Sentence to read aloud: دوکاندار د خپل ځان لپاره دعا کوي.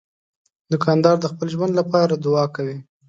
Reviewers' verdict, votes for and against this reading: rejected, 1, 2